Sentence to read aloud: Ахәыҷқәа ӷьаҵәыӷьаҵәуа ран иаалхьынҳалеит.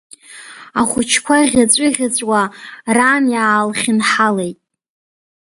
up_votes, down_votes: 2, 0